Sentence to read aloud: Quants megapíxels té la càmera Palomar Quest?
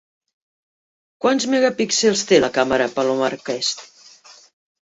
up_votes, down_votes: 0, 2